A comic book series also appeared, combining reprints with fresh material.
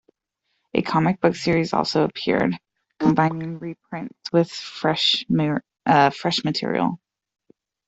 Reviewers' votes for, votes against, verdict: 1, 2, rejected